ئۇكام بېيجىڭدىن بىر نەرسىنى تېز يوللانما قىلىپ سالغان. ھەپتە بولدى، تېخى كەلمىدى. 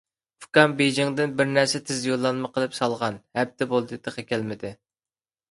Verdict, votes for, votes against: accepted, 2, 0